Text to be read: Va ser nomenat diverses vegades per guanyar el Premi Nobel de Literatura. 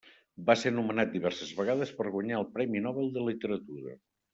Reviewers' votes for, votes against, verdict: 3, 0, accepted